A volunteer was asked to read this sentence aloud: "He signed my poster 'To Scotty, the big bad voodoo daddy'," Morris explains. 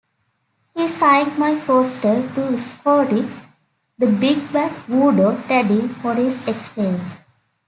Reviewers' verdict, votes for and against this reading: accepted, 2, 0